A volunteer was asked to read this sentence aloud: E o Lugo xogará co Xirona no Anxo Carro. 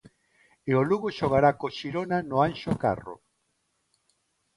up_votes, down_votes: 2, 0